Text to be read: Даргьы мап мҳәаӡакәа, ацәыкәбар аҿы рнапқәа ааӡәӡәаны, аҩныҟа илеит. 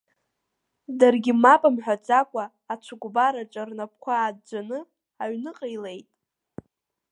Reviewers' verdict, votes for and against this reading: accepted, 2, 0